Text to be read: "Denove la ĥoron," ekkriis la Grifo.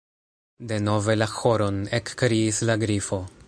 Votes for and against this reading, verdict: 1, 2, rejected